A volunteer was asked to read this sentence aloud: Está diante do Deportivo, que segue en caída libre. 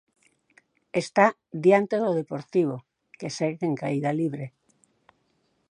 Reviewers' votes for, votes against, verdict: 4, 0, accepted